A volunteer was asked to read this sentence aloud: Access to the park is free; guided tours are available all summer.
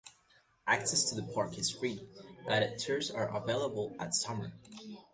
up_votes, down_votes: 0, 2